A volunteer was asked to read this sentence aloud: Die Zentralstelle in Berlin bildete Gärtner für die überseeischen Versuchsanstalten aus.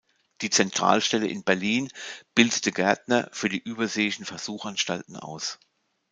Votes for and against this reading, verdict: 0, 2, rejected